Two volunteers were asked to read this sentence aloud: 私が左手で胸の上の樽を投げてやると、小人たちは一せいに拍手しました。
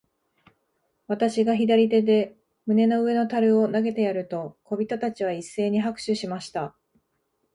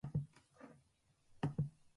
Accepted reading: first